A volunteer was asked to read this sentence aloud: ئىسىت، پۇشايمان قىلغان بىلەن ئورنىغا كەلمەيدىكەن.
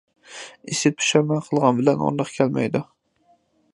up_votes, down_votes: 0, 2